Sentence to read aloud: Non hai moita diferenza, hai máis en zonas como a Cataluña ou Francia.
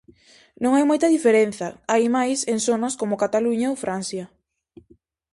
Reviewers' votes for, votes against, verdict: 2, 2, rejected